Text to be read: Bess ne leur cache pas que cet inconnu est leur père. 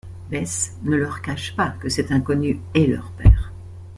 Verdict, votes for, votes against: accepted, 2, 0